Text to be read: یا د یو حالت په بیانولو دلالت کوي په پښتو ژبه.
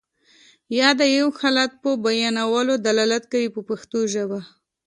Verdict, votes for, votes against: accepted, 2, 0